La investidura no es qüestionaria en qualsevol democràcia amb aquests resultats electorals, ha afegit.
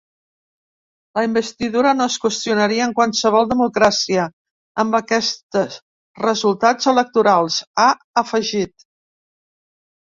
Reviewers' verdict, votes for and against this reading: rejected, 1, 2